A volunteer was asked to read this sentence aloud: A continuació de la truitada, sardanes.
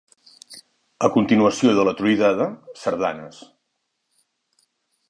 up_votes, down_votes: 1, 2